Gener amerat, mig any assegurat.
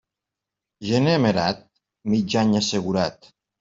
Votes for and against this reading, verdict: 2, 0, accepted